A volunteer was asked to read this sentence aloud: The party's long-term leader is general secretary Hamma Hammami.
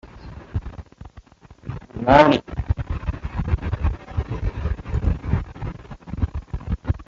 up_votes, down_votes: 0, 2